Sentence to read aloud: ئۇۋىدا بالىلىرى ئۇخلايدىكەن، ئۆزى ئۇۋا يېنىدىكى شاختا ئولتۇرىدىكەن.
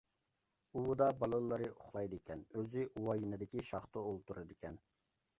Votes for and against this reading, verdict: 2, 0, accepted